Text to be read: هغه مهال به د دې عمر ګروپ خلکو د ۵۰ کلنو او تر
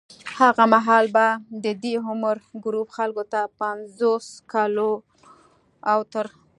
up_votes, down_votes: 0, 2